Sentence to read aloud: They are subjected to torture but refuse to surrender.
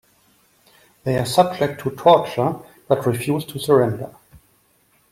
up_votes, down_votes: 0, 2